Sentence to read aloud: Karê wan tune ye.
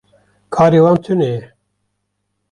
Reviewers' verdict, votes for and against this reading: accepted, 2, 0